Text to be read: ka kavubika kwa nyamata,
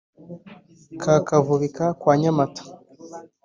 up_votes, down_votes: 2, 0